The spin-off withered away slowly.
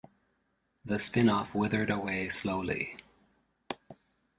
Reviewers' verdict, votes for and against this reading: accepted, 2, 0